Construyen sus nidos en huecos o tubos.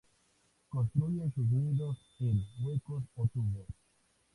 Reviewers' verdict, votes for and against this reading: rejected, 0, 4